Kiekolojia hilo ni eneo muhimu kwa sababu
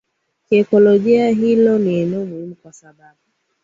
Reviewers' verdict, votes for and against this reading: accepted, 2, 0